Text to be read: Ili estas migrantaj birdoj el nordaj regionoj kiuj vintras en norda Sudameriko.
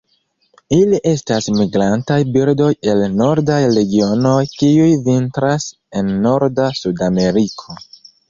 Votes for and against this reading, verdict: 1, 2, rejected